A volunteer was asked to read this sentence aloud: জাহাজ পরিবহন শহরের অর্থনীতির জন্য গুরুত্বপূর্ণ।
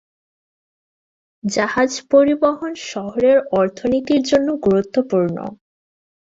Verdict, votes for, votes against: accepted, 2, 0